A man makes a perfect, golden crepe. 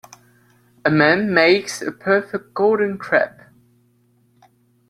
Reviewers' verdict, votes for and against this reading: accepted, 2, 0